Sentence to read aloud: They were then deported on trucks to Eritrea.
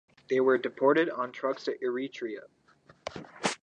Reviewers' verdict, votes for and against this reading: rejected, 2, 4